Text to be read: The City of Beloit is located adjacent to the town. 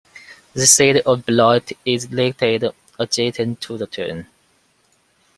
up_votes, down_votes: 0, 2